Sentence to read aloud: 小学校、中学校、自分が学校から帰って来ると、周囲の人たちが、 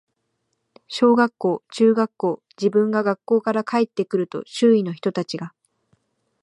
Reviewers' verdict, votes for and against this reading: accepted, 2, 0